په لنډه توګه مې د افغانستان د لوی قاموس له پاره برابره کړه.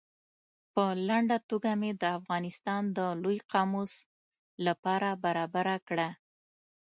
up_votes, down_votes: 2, 0